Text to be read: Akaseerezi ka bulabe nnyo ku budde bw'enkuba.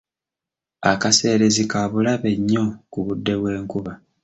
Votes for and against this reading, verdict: 2, 0, accepted